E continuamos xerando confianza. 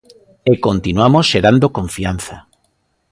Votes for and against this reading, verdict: 3, 0, accepted